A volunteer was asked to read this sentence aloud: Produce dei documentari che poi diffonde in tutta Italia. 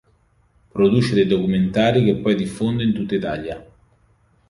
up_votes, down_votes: 2, 0